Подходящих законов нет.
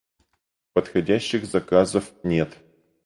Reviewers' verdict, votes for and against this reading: rejected, 2, 4